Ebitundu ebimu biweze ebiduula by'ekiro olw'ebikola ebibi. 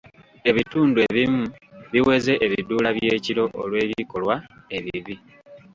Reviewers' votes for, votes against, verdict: 2, 1, accepted